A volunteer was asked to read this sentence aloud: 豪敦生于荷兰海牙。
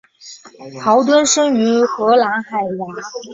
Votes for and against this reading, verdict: 6, 0, accepted